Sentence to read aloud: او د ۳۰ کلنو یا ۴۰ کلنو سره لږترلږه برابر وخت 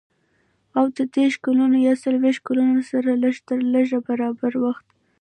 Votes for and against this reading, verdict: 0, 2, rejected